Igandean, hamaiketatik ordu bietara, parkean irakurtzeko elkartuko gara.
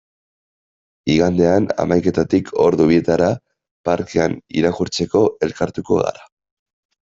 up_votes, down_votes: 2, 0